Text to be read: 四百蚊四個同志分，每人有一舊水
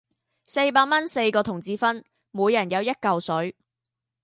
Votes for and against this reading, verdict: 2, 0, accepted